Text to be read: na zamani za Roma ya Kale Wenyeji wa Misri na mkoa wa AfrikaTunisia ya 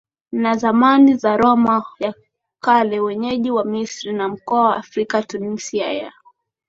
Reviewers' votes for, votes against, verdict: 2, 1, accepted